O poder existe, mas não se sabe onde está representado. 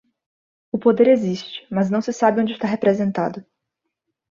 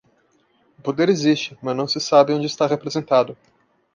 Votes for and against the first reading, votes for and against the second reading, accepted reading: 2, 0, 1, 2, first